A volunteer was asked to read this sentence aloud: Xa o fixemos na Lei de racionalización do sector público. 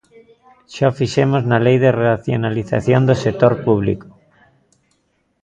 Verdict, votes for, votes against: accepted, 2, 0